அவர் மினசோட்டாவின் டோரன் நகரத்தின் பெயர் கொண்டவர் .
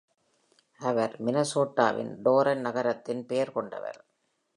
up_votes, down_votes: 2, 0